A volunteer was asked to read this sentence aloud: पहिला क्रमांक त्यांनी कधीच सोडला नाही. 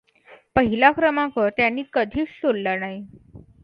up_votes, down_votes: 2, 0